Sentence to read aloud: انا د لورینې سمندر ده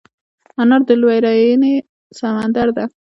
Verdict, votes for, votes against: rejected, 1, 2